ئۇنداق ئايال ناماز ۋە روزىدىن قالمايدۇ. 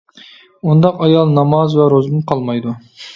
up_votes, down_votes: 2, 0